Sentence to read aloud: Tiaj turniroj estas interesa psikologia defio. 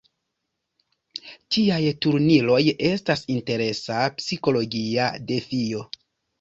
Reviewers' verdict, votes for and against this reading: rejected, 1, 2